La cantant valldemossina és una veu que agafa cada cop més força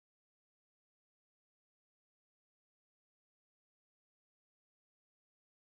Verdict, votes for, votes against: rejected, 0, 2